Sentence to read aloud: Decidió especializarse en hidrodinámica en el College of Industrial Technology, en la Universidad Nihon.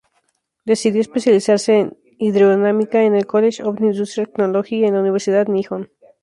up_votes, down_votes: 0, 2